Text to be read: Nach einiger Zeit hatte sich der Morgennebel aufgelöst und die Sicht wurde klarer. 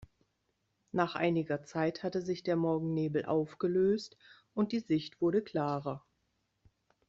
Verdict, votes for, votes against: accepted, 2, 0